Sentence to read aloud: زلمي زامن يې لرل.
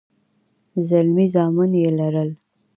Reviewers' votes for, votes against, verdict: 2, 0, accepted